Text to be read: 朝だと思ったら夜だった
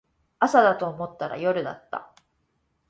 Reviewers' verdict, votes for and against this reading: accepted, 2, 0